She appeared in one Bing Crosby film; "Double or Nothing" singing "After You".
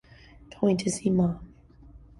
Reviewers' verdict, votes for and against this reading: rejected, 0, 2